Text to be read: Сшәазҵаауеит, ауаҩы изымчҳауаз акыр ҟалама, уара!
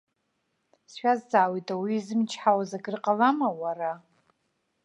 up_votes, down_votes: 2, 0